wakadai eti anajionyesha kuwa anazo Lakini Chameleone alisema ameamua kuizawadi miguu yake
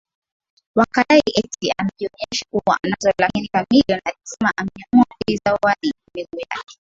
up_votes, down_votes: 0, 2